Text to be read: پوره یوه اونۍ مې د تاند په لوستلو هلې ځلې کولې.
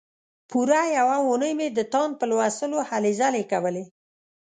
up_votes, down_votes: 2, 0